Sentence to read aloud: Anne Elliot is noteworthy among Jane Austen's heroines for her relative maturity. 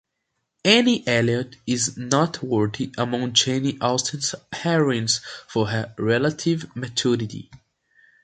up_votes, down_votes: 2, 0